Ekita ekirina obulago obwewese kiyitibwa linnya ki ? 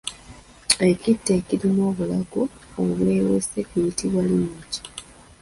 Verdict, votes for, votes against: rejected, 0, 2